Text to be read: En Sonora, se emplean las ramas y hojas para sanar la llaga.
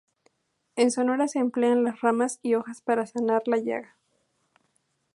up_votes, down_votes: 2, 0